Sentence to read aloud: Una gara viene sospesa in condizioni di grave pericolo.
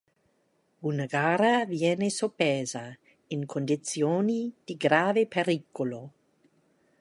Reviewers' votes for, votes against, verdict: 0, 2, rejected